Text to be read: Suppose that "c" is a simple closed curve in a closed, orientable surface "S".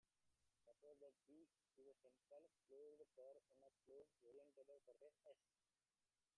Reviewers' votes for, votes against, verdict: 0, 2, rejected